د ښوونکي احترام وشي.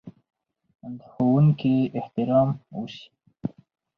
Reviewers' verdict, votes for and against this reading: accepted, 2, 0